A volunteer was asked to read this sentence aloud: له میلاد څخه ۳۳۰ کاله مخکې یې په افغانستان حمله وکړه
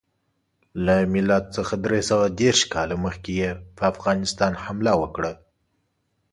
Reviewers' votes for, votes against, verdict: 0, 2, rejected